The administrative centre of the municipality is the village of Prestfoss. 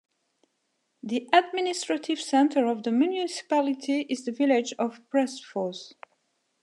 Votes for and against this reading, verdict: 2, 1, accepted